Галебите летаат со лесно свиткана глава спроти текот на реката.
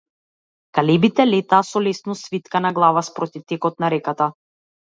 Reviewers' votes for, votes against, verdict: 1, 2, rejected